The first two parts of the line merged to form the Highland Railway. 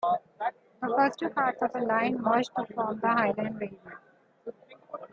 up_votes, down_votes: 0, 2